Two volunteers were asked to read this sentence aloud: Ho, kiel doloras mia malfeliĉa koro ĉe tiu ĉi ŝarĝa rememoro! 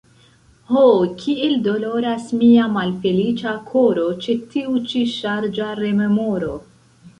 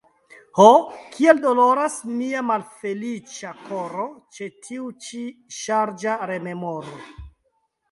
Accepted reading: second